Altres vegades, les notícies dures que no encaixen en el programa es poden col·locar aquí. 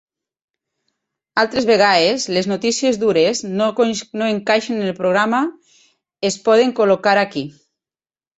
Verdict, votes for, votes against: rejected, 0, 3